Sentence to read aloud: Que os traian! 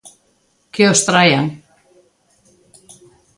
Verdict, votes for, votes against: accepted, 2, 0